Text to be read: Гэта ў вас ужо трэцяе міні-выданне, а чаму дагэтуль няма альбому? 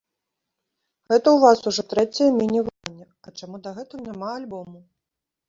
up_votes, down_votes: 0, 2